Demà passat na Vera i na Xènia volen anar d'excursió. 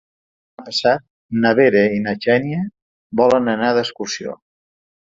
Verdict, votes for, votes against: rejected, 1, 3